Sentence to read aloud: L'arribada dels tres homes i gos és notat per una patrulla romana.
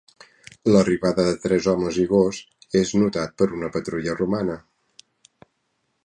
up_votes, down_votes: 1, 2